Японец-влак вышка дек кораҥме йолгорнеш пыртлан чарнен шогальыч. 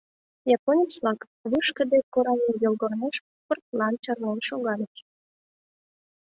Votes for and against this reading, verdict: 2, 3, rejected